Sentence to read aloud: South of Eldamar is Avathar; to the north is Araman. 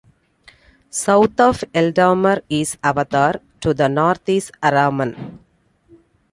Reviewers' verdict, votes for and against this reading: accepted, 2, 0